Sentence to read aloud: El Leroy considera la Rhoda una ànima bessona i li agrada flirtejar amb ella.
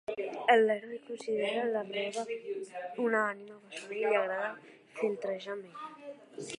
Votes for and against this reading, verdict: 1, 2, rejected